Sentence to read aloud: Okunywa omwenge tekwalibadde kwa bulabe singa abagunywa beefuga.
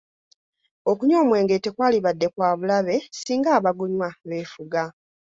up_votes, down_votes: 2, 0